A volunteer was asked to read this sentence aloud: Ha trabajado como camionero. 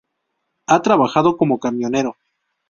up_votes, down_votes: 2, 0